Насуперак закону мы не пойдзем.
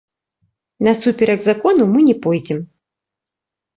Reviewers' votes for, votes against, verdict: 1, 2, rejected